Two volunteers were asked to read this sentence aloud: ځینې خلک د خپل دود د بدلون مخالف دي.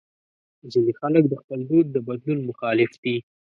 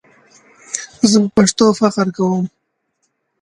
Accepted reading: first